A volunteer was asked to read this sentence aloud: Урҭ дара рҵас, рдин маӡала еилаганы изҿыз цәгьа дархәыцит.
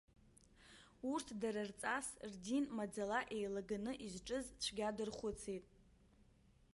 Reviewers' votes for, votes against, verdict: 0, 2, rejected